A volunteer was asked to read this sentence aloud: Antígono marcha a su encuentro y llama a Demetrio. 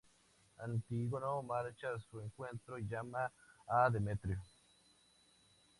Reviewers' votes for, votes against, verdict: 2, 0, accepted